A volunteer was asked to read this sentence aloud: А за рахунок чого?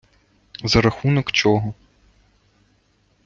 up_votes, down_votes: 1, 2